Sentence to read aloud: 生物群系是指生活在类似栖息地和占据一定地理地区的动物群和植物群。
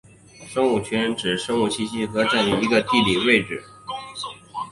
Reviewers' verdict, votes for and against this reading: rejected, 0, 5